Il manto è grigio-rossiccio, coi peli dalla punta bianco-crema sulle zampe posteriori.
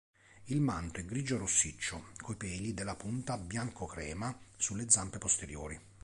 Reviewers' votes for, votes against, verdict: 2, 0, accepted